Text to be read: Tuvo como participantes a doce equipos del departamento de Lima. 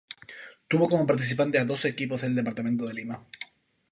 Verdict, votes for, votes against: accepted, 2, 0